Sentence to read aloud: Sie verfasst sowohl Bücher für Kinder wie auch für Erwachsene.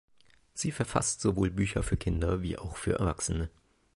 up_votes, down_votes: 3, 0